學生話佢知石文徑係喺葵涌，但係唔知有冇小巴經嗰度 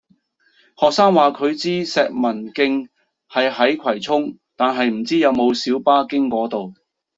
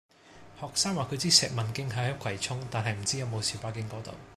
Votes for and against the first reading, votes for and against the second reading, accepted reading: 0, 2, 2, 0, second